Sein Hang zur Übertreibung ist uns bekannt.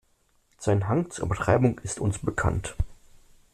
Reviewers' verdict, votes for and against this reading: rejected, 1, 2